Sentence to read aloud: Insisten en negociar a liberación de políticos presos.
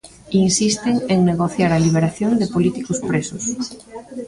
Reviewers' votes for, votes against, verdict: 1, 2, rejected